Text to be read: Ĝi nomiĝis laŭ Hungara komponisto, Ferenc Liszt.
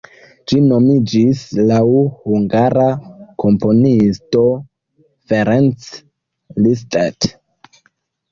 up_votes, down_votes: 1, 2